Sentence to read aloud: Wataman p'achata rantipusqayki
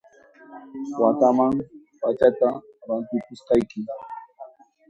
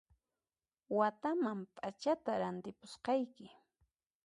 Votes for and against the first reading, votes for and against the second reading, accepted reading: 0, 2, 2, 0, second